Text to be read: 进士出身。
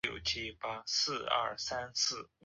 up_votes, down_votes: 0, 3